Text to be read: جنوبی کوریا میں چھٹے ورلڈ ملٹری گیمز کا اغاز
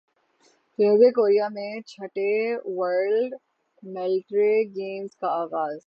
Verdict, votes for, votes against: rejected, 0, 6